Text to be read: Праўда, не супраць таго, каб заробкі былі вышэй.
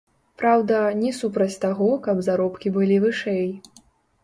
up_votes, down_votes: 1, 2